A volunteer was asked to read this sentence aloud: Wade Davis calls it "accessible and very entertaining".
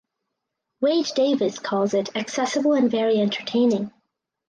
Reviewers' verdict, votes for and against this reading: accepted, 4, 0